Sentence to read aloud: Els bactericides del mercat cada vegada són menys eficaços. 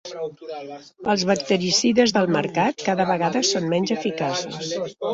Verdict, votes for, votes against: rejected, 0, 2